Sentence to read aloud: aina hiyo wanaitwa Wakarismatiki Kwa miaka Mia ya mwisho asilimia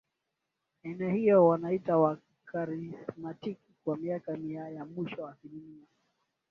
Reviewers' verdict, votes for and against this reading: accepted, 21, 9